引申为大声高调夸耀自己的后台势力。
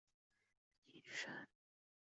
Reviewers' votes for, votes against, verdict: 0, 2, rejected